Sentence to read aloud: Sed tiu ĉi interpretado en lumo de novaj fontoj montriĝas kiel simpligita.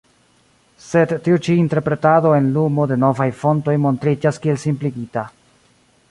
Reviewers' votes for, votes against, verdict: 1, 2, rejected